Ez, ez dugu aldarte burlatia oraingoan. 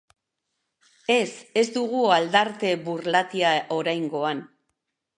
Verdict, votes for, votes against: accepted, 2, 0